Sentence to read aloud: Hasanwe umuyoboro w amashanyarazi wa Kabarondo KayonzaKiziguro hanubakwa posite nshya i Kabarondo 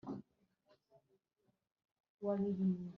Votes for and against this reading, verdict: 1, 2, rejected